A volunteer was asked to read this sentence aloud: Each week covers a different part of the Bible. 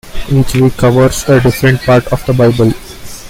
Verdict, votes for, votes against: accepted, 2, 1